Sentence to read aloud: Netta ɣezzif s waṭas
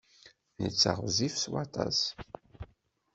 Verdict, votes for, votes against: accepted, 2, 0